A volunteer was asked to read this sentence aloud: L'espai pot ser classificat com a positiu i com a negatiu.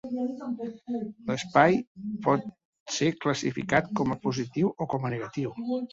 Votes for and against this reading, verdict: 2, 0, accepted